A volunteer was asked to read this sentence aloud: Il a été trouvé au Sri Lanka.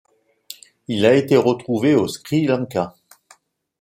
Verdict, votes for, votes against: rejected, 1, 2